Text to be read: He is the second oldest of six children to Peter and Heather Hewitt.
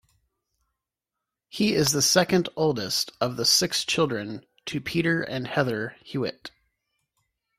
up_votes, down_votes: 1, 2